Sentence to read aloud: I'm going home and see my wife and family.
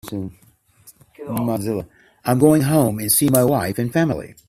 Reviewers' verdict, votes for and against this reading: rejected, 0, 2